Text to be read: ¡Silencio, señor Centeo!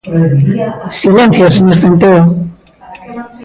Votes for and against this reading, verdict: 2, 0, accepted